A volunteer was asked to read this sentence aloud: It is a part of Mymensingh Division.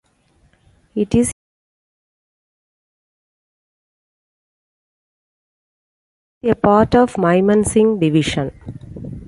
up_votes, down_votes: 0, 2